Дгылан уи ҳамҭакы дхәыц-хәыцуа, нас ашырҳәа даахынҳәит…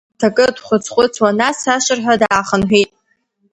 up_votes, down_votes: 1, 2